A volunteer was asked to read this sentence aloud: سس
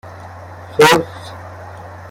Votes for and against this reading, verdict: 1, 2, rejected